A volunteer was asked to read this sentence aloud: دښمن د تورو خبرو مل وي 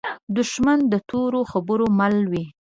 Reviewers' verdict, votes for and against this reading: accepted, 2, 0